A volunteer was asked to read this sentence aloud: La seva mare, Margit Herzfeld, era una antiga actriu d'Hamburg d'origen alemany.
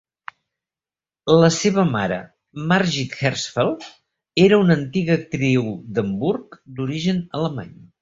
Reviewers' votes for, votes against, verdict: 2, 0, accepted